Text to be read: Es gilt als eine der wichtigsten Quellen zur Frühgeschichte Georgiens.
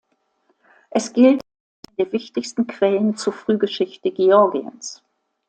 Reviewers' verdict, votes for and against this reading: rejected, 0, 2